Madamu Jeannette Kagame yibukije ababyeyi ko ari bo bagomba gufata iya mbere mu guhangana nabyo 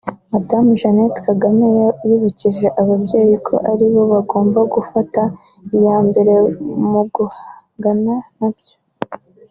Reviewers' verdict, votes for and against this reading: accepted, 2, 1